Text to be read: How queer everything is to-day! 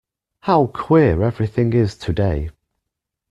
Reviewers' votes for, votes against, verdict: 2, 0, accepted